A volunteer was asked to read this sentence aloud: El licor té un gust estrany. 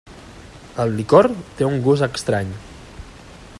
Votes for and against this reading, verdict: 3, 0, accepted